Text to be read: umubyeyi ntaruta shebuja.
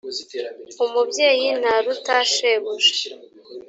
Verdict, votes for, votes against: accepted, 2, 0